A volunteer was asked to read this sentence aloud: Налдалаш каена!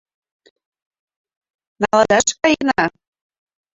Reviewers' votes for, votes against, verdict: 1, 2, rejected